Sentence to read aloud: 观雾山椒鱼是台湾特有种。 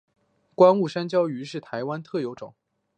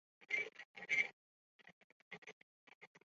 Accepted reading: first